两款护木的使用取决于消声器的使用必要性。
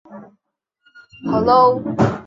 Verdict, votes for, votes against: rejected, 3, 4